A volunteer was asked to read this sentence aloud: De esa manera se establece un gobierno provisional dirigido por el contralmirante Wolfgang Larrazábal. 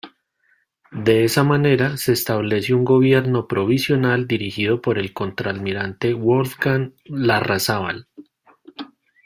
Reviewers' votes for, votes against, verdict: 1, 2, rejected